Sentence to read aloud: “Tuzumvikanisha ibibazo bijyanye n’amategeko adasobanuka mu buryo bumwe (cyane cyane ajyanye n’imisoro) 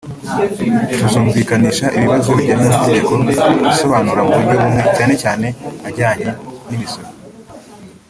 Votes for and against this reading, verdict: 0, 2, rejected